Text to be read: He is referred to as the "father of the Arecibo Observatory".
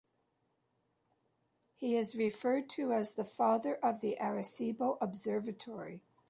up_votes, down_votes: 2, 0